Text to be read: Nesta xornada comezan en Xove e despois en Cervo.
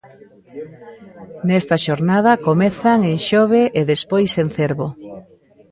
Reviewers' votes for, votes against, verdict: 0, 2, rejected